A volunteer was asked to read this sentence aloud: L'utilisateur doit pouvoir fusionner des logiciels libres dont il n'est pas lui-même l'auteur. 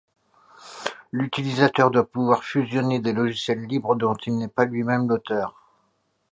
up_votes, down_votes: 2, 0